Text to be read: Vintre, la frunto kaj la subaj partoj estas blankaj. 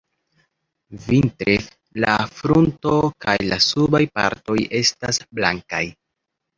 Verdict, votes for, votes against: accepted, 2, 0